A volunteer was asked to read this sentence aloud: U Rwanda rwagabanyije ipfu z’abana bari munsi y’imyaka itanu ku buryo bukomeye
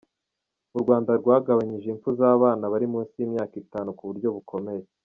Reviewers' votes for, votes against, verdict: 1, 2, rejected